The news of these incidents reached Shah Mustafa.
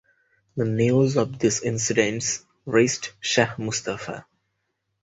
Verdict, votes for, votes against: rejected, 2, 4